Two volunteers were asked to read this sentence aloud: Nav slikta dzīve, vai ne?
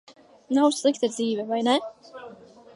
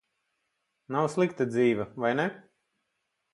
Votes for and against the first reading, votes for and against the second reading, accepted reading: 0, 2, 4, 0, second